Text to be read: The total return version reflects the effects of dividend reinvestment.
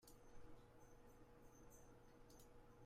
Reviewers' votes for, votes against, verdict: 0, 2, rejected